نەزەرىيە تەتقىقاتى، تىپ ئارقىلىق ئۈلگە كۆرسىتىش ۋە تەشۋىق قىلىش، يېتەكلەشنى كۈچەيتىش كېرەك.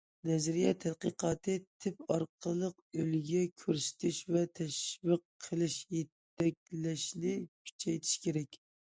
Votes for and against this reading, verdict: 2, 0, accepted